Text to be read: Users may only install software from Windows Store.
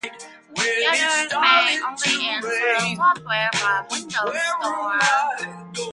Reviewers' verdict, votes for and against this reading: accepted, 2, 0